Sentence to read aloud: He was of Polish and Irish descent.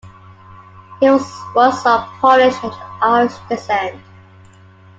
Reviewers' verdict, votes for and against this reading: rejected, 1, 2